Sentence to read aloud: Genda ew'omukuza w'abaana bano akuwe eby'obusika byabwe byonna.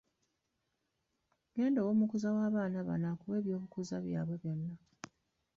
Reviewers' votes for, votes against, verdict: 0, 2, rejected